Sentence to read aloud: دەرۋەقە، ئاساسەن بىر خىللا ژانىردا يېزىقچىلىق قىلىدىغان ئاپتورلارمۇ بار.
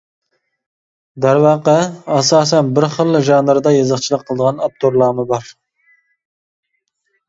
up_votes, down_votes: 2, 0